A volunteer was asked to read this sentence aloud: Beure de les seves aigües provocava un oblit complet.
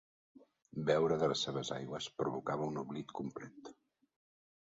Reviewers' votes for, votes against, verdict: 0, 2, rejected